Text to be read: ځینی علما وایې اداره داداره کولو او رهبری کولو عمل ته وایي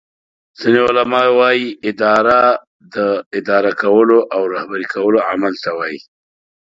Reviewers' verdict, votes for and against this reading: rejected, 1, 2